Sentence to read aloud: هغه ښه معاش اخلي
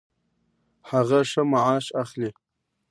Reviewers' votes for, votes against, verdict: 1, 2, rejected